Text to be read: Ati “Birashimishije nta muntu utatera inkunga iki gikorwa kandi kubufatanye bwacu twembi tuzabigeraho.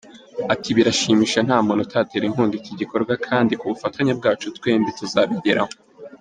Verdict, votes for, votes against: accepted, 2, 0